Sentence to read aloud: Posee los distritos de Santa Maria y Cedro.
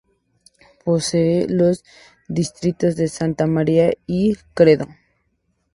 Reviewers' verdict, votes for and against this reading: rejected, 0, 2